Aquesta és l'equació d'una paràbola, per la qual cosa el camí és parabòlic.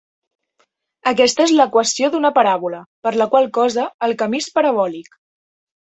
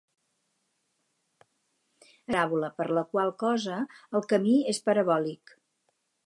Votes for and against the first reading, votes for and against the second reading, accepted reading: 2, 0, 0, 4, first